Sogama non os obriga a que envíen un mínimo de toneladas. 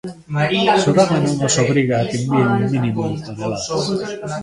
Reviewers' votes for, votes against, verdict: 1, 2, rejected